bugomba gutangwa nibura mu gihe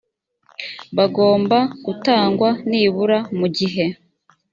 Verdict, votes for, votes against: rejected, 0, 2